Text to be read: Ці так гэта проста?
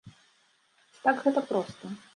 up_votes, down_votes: 0, 2